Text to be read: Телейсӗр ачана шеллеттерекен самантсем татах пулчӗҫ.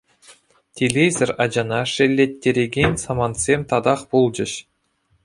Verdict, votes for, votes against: accepted, 2, 0